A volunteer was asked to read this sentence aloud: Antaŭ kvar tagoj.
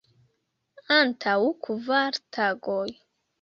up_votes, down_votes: 0, 2